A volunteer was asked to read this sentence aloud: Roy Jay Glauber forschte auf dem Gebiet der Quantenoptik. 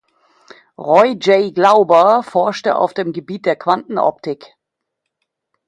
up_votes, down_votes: 2, 0